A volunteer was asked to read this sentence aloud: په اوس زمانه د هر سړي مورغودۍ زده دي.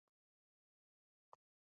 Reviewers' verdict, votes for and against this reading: rejected, 1, 2